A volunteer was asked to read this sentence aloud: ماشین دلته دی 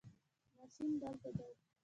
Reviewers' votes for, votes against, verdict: 0, 2, rejected